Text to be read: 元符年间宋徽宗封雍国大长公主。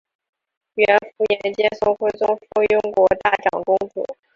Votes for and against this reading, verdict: 0, 2, rejected